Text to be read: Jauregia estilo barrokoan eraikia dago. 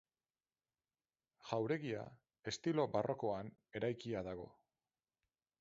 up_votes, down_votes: 4, 0